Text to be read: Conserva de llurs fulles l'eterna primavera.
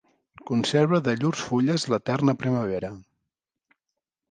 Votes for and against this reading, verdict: 3, 0, accepted